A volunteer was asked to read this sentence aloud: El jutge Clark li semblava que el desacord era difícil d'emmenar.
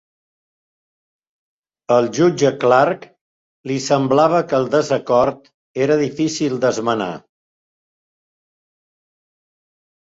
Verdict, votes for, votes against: rejected, 0, 2